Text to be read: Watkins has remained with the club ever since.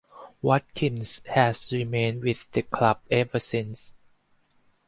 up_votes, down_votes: 4, 0